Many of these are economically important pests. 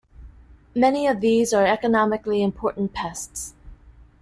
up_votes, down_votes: 2, 0